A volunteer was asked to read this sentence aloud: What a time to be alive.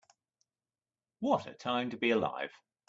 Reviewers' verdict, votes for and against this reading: accepted, 2, 0